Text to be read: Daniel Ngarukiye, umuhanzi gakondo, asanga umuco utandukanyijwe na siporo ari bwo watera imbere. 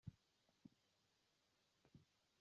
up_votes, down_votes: 0, 2